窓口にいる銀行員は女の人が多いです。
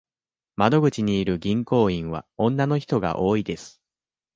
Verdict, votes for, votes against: accepted, 2, 0